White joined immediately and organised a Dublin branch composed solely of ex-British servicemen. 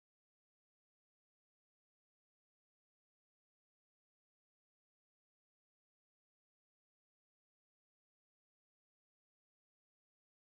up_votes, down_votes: 0, 2